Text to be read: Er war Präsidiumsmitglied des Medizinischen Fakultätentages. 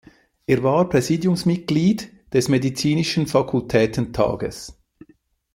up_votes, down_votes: 2, 0